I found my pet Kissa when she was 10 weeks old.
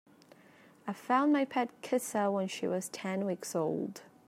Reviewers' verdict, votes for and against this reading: rejected, 0, 2